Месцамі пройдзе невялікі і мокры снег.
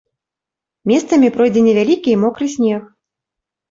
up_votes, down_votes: 2, 0